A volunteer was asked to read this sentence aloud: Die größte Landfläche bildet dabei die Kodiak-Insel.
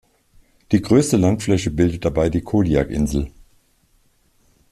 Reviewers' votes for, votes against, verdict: 2, 0, accepted